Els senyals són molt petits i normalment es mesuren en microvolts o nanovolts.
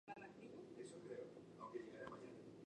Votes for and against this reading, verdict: 1, 3, rejected